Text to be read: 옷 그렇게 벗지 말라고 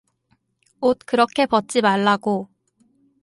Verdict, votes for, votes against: accepted, 4, 0